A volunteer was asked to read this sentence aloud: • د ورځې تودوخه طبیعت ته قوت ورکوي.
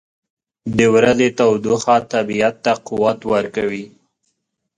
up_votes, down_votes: 2, 0